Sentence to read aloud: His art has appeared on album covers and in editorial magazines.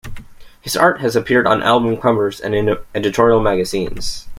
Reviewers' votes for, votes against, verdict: 1, 2, rejected